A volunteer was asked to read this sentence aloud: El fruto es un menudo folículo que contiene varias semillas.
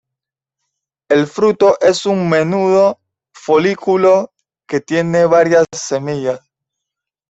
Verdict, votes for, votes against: rejected, 1, 2